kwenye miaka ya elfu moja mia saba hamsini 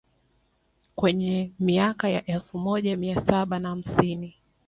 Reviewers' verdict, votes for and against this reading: rejected, 1, 2